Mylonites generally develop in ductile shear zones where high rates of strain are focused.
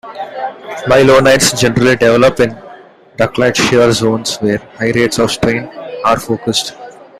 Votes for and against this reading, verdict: 2, 1, accepted